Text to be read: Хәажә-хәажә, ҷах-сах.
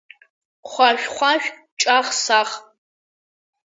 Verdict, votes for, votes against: accepted, 2, 0